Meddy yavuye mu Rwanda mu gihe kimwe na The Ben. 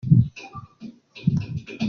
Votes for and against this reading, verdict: 0, 2, rejected